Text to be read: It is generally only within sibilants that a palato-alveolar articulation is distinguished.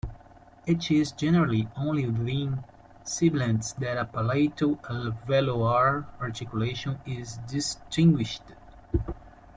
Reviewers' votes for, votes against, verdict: 0, 2, rejected